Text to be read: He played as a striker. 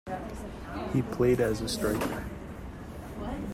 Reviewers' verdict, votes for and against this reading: rejected, 1, 2